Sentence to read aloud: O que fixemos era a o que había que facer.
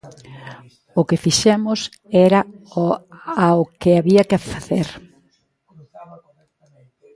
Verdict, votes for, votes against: rejected, 0, 2